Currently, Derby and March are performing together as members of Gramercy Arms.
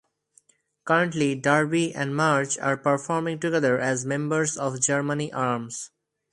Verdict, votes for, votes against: rejected, 0, 4